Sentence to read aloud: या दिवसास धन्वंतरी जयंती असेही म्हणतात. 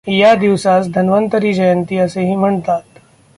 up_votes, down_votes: 2, 0